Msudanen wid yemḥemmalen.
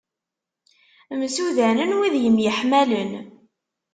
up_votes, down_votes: 1, 2